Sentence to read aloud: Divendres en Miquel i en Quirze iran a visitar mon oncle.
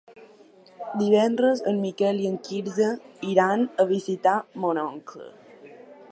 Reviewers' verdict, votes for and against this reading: rejected, 1, 2